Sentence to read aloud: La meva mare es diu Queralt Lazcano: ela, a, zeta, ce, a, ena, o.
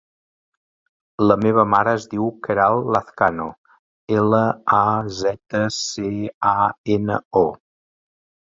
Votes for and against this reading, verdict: 4, 0, accepted